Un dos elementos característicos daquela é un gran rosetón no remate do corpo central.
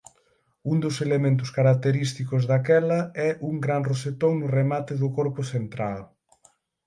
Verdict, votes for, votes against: accepted, 6, 0